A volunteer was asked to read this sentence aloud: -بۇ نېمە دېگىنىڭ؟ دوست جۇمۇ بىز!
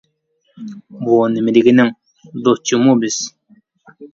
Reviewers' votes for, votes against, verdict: 0, 2, rejected